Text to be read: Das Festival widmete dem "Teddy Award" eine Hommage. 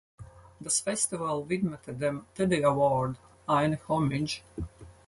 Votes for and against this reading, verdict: 0, 4, rejected